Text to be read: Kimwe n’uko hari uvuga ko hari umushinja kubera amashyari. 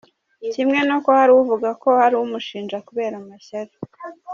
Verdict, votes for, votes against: accepted, 2, 0